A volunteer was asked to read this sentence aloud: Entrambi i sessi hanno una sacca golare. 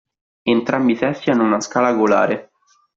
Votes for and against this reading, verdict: 0, 2, rejected